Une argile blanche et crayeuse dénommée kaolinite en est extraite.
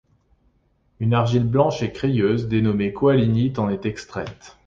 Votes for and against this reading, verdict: 0, 2, rejected